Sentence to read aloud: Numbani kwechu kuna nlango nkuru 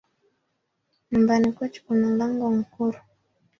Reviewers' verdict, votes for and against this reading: accepted, 2, 0